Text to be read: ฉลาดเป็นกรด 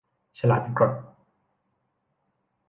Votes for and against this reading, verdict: 1, 4, rejected